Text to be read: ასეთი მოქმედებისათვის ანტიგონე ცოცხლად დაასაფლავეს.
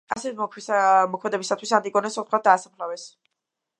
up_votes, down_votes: 1, 2